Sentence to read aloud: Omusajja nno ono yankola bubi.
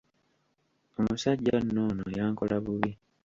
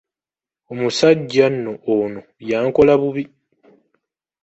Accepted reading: second